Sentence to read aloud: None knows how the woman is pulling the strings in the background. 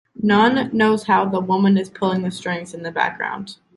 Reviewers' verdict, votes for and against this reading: accepted, 2, 0